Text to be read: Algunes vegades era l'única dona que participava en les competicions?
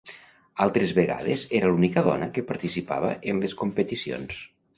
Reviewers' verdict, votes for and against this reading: rejected, 1, 2